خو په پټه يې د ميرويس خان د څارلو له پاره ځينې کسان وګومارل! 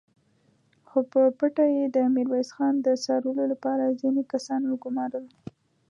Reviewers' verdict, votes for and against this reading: accepted, 2, 0